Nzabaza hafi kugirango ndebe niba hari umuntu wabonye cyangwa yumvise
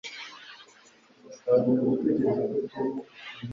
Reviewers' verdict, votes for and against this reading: rejected, 1, 2